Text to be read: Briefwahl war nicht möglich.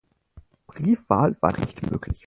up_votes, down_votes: 2, 4